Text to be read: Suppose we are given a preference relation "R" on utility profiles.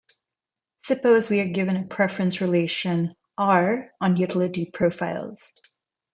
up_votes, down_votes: 2, 0